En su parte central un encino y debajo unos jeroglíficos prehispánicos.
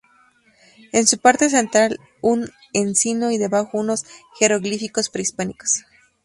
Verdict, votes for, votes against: accepted, 2, 0